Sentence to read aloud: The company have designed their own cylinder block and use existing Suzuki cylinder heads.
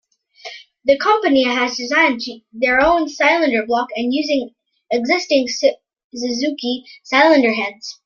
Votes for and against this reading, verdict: 1, 2, rejected